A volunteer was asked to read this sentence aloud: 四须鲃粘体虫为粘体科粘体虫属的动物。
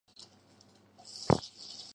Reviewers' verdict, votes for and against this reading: rejected, 0, 5